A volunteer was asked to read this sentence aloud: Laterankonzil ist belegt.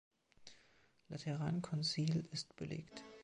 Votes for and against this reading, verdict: 2, 0, accepted